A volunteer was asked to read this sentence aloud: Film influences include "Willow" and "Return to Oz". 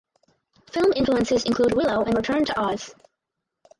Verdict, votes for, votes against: rejected, 0, 2